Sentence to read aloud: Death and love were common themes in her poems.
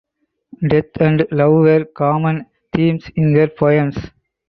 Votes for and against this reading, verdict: 4, 0, accepted